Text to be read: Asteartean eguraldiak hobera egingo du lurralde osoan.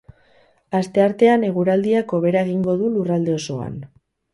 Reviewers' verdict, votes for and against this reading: accepted, 2, 0